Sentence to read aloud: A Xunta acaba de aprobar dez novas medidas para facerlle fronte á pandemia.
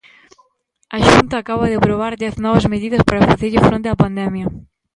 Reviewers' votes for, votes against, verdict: 2, 1, accepted